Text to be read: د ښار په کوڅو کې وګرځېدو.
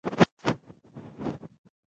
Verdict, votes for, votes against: rejected, 1, 2